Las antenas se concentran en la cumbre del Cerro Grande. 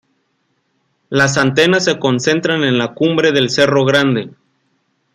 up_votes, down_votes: 2, 0